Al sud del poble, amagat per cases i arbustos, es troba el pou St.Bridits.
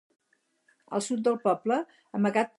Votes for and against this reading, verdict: 2, 2, rejected